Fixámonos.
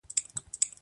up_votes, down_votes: 0, 2